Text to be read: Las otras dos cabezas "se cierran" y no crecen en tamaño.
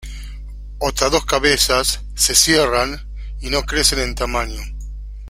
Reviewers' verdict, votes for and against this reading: rejected, 0, 2